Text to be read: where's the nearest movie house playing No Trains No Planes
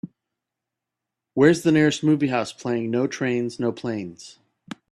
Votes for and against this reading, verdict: 2, 0, accepted